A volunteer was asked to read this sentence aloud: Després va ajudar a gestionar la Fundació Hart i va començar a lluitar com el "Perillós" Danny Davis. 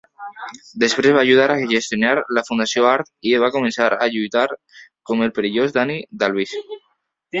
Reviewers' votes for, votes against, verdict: 0, 2, rejected